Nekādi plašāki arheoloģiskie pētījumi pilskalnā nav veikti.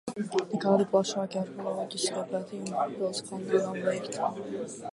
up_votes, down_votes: 0, 2